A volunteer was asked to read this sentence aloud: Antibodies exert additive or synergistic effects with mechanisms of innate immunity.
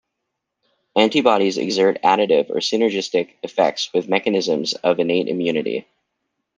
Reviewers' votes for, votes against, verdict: 2, 0, accepted